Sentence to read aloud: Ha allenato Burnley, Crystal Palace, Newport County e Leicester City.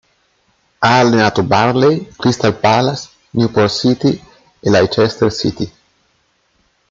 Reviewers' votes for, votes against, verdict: 0, 2, rejected